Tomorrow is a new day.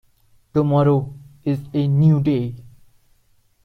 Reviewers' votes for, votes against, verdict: 2, 0, accepted